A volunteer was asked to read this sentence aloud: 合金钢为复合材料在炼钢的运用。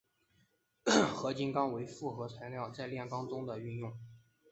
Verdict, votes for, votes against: rejected, 1, 2